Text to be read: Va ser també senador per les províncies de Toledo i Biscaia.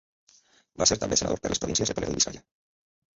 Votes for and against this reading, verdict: 0, 2, rejected